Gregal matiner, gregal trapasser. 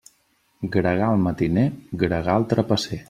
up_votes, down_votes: 3, 0